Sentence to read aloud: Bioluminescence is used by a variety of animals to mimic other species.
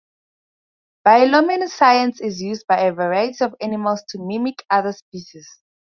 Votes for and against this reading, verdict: 2, 2, rejected